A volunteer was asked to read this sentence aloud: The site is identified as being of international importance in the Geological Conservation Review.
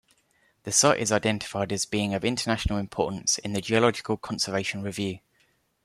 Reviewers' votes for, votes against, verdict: 2, 0, accepted